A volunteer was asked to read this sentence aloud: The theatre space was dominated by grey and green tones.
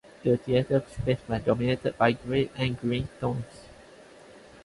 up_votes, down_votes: 2, 0